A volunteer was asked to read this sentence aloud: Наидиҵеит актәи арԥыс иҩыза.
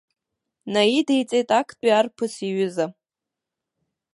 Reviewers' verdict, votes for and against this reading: accepted, 2, 1